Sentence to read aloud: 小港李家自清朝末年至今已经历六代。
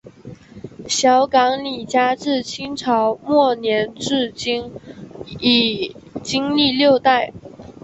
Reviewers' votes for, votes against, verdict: 4, 0, accepted